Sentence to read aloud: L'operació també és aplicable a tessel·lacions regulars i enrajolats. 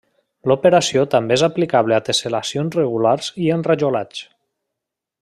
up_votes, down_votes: 2, 0